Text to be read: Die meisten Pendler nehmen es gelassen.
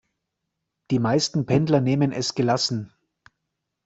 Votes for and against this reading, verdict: 2, 0, accepted